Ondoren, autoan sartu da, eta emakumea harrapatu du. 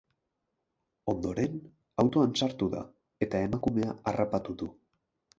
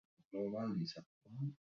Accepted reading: first